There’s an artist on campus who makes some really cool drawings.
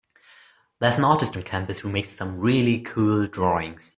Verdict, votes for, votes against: accepted, 2, 0